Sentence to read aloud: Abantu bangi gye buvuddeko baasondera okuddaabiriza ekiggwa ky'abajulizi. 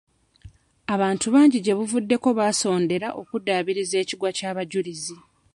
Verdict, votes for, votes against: rejected, 1, 2